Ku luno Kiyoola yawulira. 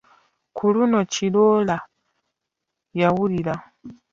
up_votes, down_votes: 1, 2